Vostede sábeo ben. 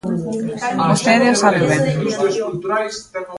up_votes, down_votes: 1, 2